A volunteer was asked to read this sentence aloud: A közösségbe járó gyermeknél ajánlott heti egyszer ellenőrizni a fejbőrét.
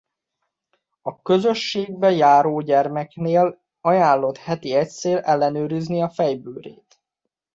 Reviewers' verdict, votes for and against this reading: rejected, 0, 2